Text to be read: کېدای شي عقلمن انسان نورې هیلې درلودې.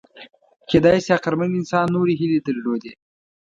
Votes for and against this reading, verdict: 2, 0, accepted